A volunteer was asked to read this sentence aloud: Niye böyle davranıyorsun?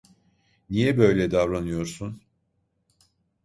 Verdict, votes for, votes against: accepted, 2, 0